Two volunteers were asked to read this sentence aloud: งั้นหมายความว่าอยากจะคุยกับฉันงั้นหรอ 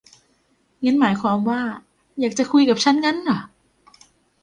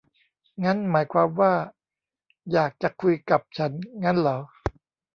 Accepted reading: first